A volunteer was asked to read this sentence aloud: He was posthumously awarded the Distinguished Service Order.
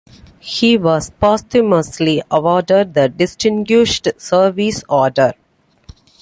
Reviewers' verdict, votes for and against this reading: accepted, 2, 0